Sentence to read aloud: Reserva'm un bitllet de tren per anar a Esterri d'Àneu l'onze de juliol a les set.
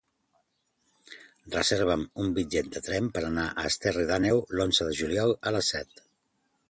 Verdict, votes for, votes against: accepted, 2, 0